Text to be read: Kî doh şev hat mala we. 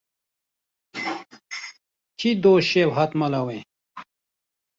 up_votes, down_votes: 2, 0